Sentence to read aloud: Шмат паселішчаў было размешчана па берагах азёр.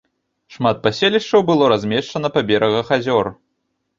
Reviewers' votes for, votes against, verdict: 2, 0, accepted